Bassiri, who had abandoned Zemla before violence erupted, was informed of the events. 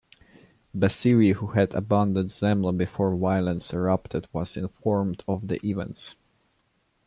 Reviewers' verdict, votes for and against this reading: accepted, 2, 0